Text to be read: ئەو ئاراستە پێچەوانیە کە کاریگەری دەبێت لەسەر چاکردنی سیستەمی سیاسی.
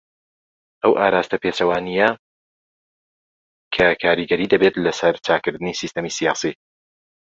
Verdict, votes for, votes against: accepted, 2, 0